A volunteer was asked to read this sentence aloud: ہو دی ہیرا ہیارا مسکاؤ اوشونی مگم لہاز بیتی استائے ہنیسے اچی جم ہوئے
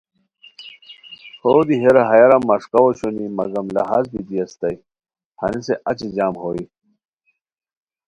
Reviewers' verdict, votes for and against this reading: accepted, 2, 0